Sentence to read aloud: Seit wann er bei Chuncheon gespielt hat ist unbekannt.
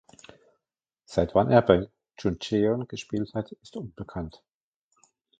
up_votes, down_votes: 0, 2